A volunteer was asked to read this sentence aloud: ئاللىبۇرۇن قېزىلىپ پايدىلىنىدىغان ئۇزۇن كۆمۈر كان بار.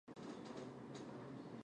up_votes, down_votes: 0, 4